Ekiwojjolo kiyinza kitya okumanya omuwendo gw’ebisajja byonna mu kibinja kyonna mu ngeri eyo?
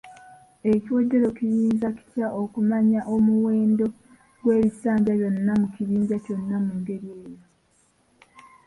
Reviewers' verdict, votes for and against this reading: rejected, 0, 2